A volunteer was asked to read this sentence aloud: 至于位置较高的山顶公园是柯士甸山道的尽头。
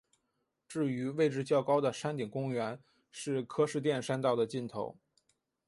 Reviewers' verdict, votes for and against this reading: accepted, 4, 0